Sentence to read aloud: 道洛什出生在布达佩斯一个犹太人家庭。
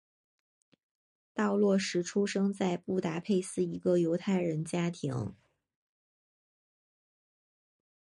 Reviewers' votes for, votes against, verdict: 3, 0, accepted